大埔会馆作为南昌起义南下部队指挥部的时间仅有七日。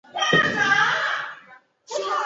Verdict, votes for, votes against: rejected, 1, 2